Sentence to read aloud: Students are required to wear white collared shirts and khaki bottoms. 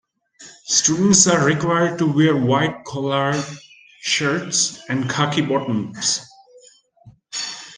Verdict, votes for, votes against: accepted, 2, 0